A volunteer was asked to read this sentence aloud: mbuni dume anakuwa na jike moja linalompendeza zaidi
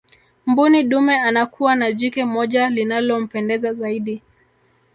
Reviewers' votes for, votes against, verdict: 1, 2, rejected